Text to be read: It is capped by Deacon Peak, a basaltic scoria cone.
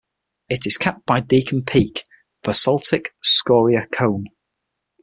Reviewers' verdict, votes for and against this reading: accepted, 6, 0